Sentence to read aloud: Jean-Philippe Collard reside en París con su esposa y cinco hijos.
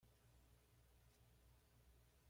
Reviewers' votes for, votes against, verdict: 1, 2, rejected